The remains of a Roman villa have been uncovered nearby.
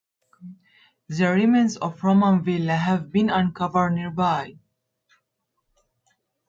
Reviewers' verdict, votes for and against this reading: rejected, 0, 2